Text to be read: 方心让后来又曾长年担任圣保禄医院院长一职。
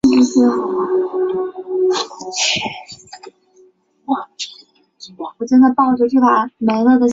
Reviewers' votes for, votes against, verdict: 0, 2, rejected